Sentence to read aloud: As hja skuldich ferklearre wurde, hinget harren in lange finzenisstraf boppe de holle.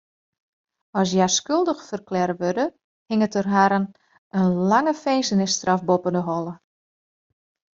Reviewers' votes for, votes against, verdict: 1, 2, rejected